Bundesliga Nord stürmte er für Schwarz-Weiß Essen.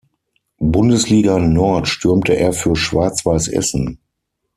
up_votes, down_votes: 6, 0